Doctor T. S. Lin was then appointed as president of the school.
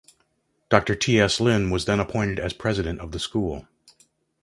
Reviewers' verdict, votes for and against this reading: accepted, 2, 0